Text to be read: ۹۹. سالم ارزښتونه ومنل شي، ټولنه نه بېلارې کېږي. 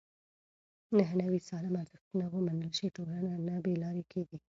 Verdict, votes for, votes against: rejected, 0, 2